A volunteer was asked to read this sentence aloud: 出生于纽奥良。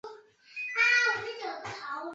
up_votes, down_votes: 4, 3